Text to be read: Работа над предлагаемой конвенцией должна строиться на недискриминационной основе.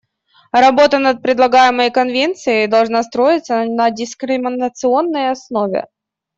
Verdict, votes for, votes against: rejected, 0, 2